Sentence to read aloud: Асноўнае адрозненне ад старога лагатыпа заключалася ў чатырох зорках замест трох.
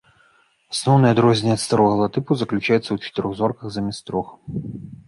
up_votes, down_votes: 1, 2